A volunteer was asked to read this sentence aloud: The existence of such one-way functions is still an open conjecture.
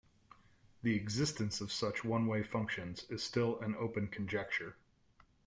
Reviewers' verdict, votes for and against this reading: accepted, 2, 0